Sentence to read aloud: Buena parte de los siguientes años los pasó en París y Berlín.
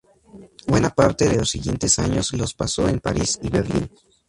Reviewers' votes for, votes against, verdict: 0, 2, rejected